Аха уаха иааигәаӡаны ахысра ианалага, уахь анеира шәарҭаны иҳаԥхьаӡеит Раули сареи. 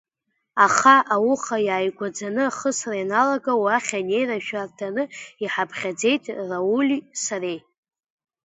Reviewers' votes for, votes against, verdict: 1, 2, rejected